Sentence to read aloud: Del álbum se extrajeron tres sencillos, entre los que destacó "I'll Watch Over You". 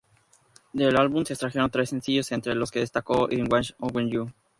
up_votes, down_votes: 0, 2